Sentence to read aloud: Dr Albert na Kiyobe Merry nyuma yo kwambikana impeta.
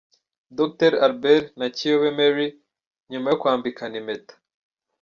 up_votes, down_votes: 2, 0